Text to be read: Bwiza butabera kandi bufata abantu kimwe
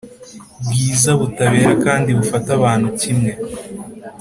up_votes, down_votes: 2, 0